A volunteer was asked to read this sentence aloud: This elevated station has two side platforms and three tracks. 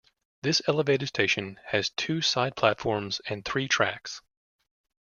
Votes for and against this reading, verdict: 1, 2, rejected